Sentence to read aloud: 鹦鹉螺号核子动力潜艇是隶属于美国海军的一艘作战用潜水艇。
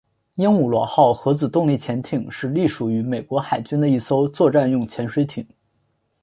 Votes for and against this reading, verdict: 3, 0, accepted